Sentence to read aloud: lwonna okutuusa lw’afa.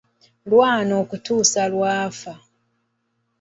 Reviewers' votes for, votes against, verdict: 1, 2, rejected